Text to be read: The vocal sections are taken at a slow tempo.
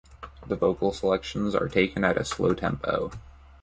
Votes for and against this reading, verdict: 1, 3, rejected